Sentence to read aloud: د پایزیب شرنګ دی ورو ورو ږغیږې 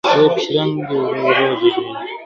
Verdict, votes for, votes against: rejected, 1, 2